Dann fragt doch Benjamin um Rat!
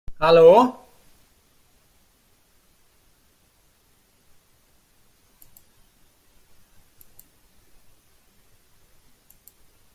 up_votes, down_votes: 0, 2